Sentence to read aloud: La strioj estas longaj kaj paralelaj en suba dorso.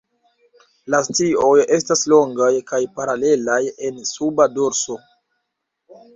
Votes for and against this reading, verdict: 1, 2, rejected